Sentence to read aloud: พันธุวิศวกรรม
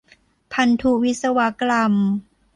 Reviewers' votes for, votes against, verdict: 0, 2, rejected